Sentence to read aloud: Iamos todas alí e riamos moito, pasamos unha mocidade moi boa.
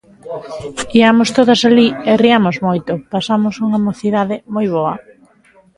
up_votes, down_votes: 0, 2